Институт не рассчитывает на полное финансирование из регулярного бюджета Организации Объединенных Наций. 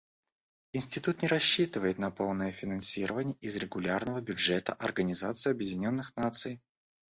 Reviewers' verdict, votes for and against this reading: rejected, 1, 2